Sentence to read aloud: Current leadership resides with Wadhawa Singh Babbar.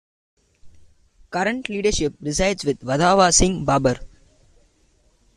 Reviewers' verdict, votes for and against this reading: rejected, 1, 2